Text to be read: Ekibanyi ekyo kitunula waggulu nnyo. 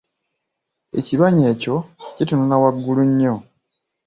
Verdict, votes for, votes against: accepted, 3, 1